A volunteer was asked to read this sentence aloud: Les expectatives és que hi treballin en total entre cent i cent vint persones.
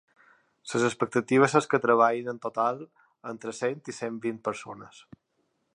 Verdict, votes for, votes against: accepted, 2, 0